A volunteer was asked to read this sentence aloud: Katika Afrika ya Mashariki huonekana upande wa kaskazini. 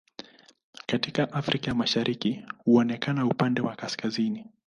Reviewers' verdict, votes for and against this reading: accepted, 9, 3